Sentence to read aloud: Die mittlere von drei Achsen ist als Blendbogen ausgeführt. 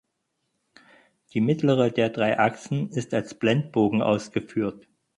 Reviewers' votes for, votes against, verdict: 0, 4, rejected